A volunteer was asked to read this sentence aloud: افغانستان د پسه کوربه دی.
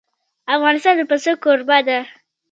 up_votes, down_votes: 1, 2